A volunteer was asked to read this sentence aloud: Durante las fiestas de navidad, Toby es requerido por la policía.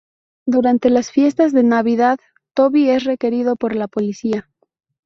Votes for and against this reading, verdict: 2, 0, accepted